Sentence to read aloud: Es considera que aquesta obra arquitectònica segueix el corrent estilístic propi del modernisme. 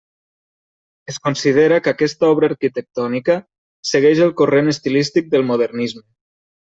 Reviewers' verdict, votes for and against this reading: rejected, 0, 2